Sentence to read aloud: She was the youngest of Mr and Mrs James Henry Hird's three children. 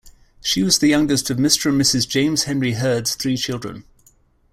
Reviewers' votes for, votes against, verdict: 2, 0, accepted